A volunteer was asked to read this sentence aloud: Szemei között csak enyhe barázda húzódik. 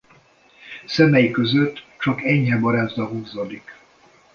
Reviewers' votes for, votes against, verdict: 1, 2, rejected